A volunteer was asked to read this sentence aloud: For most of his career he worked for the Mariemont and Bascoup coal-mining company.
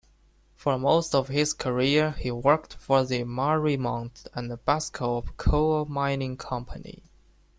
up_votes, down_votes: 2, 0